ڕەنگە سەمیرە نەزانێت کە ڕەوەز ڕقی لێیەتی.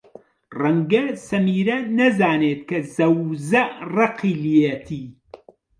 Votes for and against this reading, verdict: 0, 2, rejected